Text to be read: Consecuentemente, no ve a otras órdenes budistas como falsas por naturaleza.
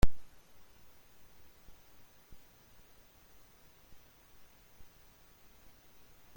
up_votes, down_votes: 0, 2